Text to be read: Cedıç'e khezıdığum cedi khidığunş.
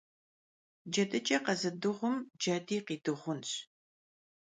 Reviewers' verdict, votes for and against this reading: accepted, 3, 0